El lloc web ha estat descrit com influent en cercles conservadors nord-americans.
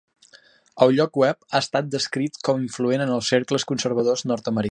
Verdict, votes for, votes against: rejected, 1, 3